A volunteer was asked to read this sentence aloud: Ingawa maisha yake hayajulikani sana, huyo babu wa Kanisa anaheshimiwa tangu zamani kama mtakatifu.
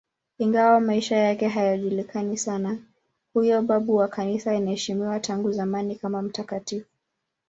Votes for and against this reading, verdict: 2, 0, accepted